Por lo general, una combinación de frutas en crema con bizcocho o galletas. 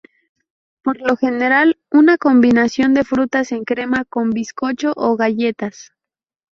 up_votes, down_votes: 2, 0